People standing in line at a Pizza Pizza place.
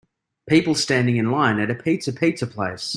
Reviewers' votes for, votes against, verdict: 2, 0, accepted